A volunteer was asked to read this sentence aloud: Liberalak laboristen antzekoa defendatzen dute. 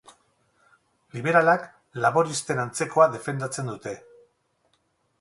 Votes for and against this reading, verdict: 2, 0, accepted